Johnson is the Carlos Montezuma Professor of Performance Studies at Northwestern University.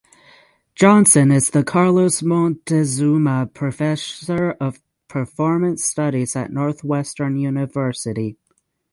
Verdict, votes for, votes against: rejected, 0, 3